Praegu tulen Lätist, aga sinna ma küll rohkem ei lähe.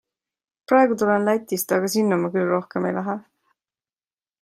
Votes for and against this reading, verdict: 2, 0, accepted